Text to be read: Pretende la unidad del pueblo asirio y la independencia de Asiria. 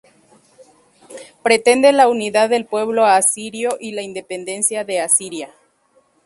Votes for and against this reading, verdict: 2, 0, accepted